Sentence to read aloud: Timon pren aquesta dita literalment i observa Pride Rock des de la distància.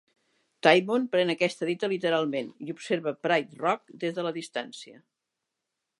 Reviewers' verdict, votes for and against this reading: accepted, 4, 0